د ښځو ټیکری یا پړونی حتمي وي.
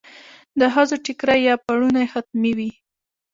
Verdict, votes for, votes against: accepted, 3, 0